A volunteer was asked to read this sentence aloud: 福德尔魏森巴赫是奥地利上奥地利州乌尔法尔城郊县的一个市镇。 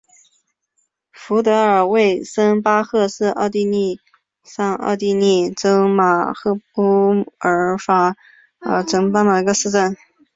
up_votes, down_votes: 5, 0